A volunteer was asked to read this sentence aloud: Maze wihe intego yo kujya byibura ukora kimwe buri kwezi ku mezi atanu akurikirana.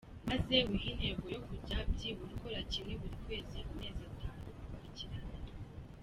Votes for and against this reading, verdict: 0, 2, rejected